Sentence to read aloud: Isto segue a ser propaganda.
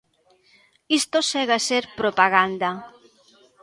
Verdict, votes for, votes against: accepted, 2, 0